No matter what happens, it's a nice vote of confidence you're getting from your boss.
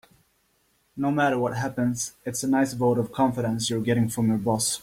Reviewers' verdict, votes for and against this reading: accepted, 2, 1